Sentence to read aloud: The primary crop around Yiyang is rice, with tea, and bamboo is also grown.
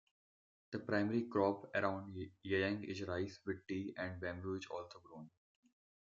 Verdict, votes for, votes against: rejected, 1, 2